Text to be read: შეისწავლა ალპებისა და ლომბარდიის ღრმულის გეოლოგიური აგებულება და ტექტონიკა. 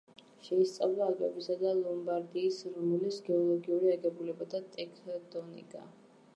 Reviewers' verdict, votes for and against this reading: rejected, 1, 2